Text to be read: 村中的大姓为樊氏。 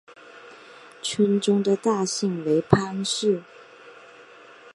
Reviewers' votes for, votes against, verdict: 0, 2, rejected